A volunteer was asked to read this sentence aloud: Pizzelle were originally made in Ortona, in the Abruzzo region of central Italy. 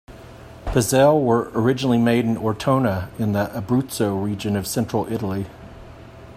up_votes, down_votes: 2, 0